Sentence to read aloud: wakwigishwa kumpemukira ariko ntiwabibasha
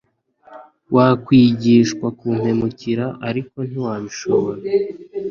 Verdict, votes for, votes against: accepted, 2, 0